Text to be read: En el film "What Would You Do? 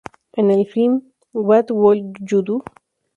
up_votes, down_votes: 0, 2